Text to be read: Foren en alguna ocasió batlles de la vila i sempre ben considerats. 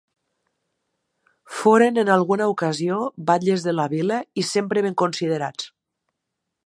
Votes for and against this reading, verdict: 2, 0, accepted